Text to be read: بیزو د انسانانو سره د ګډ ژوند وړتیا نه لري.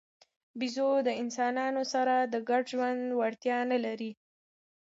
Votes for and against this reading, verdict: 1, 2, rejected